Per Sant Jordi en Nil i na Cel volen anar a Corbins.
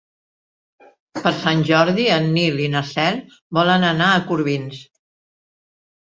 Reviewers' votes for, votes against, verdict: 4, 0, accepted